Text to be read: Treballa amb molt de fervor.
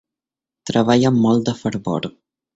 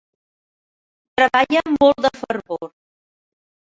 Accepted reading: first